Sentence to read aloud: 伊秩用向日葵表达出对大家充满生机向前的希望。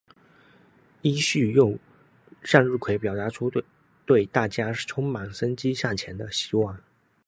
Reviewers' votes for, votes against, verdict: 1, 2, rejected